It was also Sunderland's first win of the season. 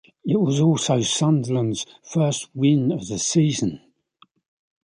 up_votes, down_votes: 2, 1